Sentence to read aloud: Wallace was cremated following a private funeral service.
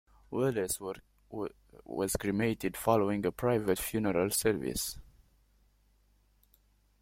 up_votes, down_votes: 0, 2